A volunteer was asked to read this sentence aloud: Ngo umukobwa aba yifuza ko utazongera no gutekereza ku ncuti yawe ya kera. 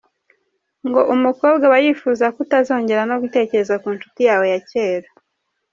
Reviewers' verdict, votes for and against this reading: accepted, 3, 0